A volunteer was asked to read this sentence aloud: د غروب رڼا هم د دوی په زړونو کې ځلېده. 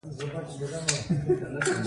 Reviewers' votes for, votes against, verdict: 2, 3, rejected